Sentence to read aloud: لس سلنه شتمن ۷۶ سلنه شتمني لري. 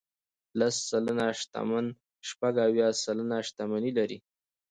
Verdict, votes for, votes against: rejected, 0, 2